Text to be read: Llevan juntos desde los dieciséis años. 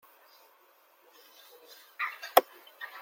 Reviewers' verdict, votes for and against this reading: rejected, 0, 2